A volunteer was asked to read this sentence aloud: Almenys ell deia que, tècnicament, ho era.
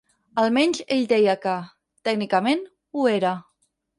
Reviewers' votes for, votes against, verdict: 8, 0, accepted